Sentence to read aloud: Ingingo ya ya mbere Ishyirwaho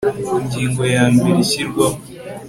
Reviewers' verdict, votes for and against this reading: accepted, 2, 0